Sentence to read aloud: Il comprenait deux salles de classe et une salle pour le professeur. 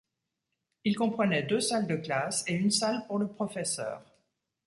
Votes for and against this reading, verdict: 2, 0, accepted